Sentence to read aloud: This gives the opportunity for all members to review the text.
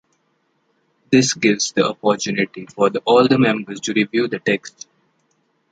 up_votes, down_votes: 2, 1